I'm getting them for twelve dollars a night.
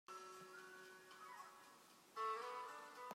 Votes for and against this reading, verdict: 0, 2, rejected